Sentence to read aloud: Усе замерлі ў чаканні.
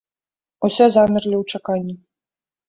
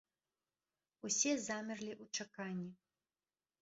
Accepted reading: second